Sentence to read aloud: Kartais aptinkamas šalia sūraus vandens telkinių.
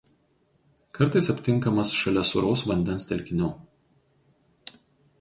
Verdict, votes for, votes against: accepted, 4, 0